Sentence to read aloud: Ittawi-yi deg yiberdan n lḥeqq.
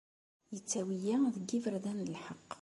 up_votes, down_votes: 2, 0